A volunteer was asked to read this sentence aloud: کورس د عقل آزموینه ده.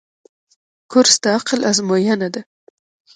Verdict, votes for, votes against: rejected, 1, 2